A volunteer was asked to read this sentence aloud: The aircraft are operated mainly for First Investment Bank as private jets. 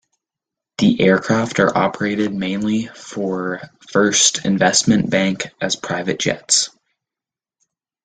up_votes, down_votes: 2, 0